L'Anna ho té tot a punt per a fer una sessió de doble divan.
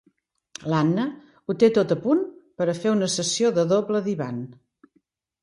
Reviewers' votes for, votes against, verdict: 3, 0, accepted